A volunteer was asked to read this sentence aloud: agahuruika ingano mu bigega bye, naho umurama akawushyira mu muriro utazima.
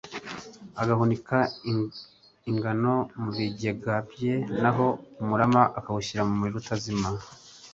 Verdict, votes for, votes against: rejected, 1, 2